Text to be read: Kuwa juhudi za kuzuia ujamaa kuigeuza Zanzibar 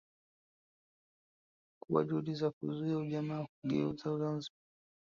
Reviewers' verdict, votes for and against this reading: rejected, 1, 2